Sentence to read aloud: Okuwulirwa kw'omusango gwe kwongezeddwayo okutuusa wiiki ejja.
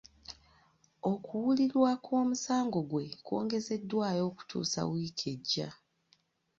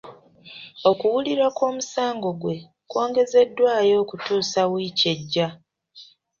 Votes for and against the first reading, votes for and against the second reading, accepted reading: 1, 2, 2, 0, second